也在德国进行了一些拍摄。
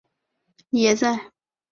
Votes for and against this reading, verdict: 1, 2, rejected